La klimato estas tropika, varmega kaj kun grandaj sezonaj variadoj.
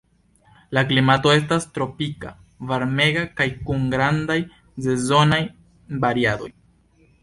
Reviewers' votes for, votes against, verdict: 2, 0, accepted